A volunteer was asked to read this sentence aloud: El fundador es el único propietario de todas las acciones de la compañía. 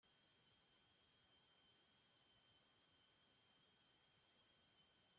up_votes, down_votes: 1, 2